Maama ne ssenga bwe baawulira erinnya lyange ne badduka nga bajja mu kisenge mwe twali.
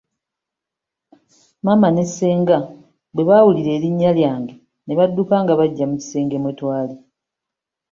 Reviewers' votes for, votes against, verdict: 4, 0, accepted